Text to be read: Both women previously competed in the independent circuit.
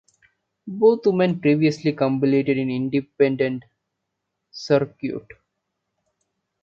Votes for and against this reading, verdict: 0, 2, rejected